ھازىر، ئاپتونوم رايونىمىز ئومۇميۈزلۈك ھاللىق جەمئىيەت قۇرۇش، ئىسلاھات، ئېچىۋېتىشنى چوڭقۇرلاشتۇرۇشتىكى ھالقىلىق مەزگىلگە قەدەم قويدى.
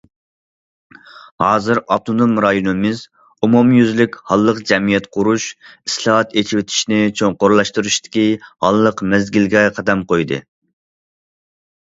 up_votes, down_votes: 0, 2